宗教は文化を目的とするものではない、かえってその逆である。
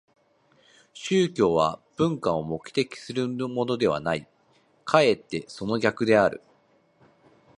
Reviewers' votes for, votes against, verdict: 0, 3, rejected